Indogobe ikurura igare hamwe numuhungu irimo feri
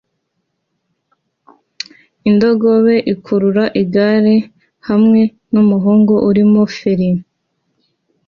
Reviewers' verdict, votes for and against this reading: accepted, 2, 0